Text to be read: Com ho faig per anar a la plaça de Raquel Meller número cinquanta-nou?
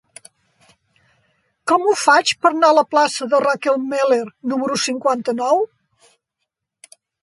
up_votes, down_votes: 0, 2